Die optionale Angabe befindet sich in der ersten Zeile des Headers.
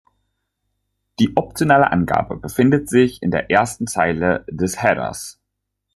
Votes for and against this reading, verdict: 2, 0, accepted